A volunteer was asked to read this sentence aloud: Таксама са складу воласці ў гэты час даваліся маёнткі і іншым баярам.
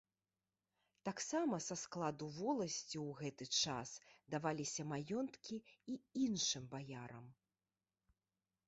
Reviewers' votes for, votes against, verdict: 2, 1, accepted